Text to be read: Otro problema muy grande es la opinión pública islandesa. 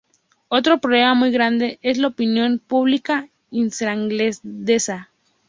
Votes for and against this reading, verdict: 0, 2, rejected